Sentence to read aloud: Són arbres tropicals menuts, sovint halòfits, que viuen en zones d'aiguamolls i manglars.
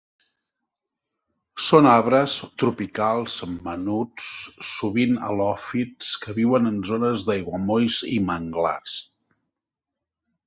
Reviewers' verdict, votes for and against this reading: accepted, 2, 0